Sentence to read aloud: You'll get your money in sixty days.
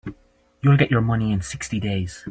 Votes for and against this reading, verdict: 2, 0, accepted